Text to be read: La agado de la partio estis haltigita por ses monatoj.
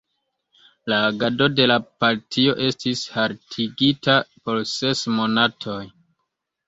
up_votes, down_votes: 1, 2